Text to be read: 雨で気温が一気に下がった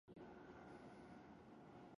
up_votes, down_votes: 0, 2